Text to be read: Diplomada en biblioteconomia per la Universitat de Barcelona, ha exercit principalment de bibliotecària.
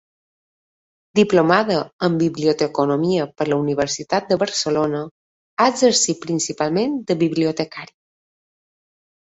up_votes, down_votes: 2, 0